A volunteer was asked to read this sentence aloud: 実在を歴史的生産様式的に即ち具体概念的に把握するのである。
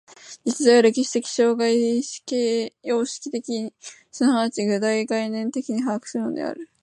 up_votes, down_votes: 0, 3